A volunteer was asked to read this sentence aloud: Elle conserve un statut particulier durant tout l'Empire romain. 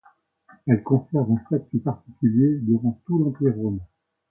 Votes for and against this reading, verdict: 2, 0, accepted